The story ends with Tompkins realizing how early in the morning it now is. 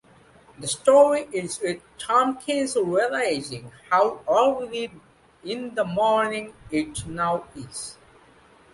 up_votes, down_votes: 2, 0